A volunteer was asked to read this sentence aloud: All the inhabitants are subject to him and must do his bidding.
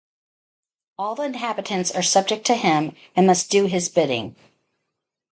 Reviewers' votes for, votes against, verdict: 0, 2, rejected